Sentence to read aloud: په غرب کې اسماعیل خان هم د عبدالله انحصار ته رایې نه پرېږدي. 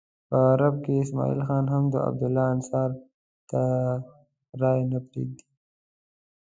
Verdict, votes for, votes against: rejected, 1, 2